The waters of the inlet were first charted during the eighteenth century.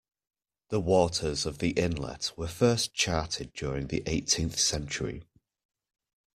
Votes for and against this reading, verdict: 2, 0, accepted